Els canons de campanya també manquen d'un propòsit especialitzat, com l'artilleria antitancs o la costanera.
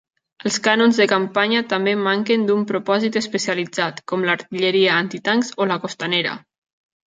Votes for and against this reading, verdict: 0, 2, rejected